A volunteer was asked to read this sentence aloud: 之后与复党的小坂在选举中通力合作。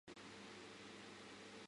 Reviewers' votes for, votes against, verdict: 0, 4, rejected